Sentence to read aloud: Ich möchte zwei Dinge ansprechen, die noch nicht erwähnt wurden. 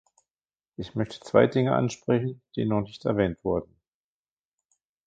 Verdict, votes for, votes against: accepted, 2, 0